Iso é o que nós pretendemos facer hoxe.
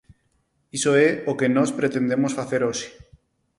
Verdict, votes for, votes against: accepted, 4, 0